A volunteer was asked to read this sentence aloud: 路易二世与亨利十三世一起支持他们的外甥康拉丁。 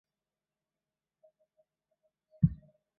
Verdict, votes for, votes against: rejected, 0, 3